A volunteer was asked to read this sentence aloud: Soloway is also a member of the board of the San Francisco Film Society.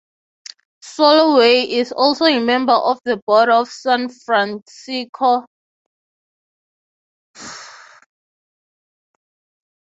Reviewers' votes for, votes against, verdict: 0, 6, rejected